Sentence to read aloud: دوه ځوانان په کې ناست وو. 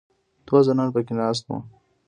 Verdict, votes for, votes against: accepted, 2, 0